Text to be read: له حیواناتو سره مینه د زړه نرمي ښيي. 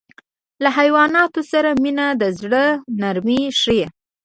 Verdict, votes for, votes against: rejected, 0, 2